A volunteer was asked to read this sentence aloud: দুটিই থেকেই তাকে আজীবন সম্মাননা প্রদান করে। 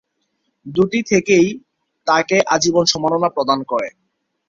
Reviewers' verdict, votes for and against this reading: accepted, 2, 0